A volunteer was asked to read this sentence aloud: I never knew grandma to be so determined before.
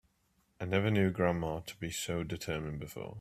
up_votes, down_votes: 2, 0